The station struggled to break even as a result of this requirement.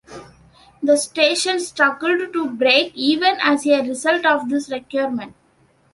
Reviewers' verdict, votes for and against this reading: accepted, 2, 1